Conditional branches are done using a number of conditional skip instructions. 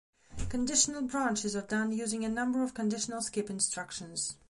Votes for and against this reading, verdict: 2, 0, accepted